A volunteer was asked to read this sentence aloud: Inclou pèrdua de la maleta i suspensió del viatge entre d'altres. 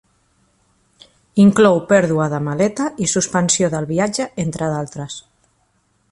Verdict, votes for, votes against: rejected, 0, 2